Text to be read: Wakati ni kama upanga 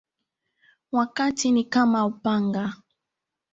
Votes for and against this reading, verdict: 2, 1, accepted